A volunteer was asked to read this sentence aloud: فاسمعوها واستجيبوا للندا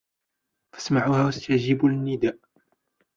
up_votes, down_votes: 1, 2